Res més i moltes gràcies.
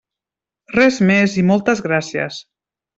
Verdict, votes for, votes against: accepted, 3, 0